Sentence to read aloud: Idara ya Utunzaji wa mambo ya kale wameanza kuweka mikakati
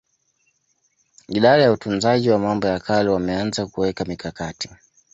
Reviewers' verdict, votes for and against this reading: accepted, 2, 1